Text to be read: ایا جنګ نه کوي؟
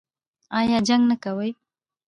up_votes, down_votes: 1, 2